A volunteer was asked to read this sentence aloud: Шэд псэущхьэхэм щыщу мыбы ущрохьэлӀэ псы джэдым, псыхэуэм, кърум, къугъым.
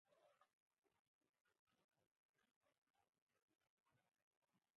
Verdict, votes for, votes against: rejected, 0, 4